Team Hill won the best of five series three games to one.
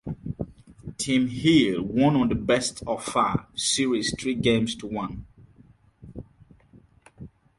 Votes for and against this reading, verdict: 2, 2, rejected